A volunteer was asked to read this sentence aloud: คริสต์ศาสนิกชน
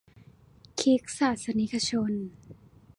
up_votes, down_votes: 2, 0